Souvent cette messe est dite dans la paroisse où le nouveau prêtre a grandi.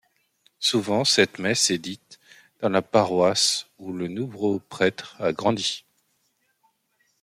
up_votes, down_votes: 0, 2